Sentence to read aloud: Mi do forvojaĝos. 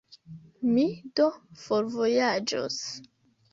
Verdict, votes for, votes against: accepted, 2, 1